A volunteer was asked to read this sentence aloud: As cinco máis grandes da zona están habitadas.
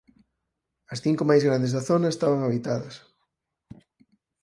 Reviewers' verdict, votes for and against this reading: rejected, 0, 4